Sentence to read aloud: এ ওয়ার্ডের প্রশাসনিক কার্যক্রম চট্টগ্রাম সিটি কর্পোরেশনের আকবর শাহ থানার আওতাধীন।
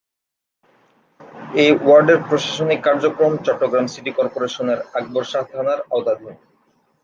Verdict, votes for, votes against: accepted, 2, 0